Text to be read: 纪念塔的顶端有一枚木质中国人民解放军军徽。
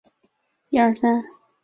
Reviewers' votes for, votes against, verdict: 0, 4, rejected